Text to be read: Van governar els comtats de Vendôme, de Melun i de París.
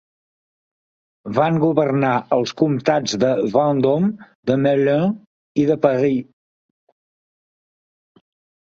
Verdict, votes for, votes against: rejected, 1, 2